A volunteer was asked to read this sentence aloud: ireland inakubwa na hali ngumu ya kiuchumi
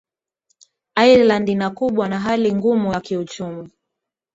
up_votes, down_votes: 2, 0